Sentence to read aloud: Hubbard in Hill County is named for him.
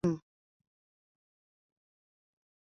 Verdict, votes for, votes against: rejected, 0, 2